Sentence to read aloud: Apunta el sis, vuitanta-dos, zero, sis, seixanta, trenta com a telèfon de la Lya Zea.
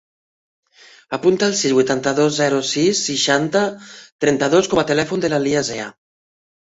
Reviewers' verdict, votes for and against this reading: rejected, 0, 2